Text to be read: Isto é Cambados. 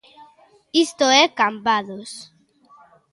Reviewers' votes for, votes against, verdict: 3, 0, accepted